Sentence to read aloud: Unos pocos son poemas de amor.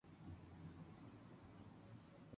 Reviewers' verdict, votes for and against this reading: rejected, 0, 4